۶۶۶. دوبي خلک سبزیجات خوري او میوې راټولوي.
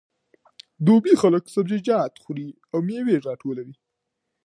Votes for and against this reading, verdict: 0, 2, rejected